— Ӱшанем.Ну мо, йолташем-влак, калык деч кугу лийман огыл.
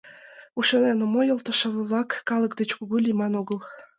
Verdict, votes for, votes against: rejected, 1, 2